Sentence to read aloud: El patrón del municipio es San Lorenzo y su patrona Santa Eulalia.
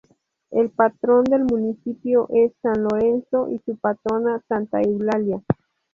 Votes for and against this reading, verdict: 2, 0, accepted